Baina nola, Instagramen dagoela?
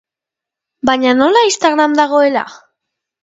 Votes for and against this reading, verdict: 0, 2, rejected